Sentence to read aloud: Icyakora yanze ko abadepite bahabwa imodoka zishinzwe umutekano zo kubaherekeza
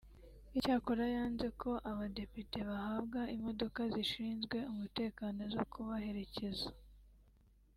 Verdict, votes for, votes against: accepted, 3, 0